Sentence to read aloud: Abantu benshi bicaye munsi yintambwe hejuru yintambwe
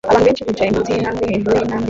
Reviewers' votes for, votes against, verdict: 0, 2, rejected